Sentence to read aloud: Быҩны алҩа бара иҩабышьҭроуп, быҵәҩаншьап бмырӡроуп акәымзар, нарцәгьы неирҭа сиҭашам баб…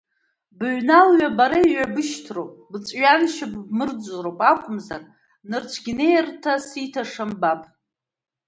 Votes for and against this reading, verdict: 0, 2, rejected